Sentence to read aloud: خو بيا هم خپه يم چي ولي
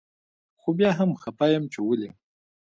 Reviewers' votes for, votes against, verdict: 2, 0, accepted